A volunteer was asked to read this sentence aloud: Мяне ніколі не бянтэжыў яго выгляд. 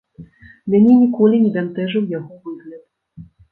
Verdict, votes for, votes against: rejected, 1, 2